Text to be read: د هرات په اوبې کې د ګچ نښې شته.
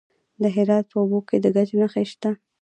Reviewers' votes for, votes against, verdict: 2, 0, accepted